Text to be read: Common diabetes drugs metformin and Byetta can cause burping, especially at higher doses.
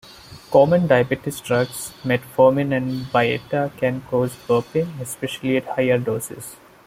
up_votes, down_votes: 1, 2